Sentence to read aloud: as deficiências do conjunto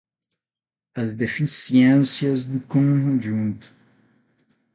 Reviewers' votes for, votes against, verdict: 3, 6, rejected